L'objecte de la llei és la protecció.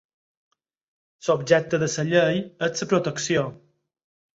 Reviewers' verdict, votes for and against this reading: rejected, 2, 4